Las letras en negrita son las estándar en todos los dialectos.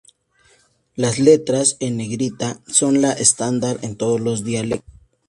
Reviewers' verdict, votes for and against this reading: rejected, 0, 2